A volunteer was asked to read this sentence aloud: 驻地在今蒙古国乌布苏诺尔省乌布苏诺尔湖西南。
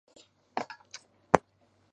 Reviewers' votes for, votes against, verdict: 0, 3, rejected